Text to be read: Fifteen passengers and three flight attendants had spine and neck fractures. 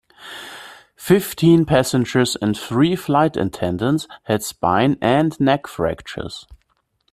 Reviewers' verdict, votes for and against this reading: accepted, 2, 1